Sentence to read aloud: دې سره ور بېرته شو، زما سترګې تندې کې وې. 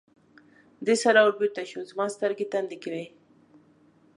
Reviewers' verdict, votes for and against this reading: accepted, 2, 0